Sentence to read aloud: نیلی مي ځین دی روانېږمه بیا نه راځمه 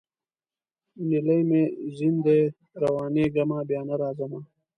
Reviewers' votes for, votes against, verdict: 2, 0, accepted